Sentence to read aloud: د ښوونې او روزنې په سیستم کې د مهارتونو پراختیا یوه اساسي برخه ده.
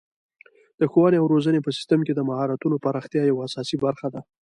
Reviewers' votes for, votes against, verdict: 2, 1, accepted